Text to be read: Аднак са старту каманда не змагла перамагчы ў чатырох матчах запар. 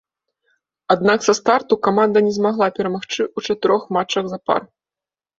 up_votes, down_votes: 3, 1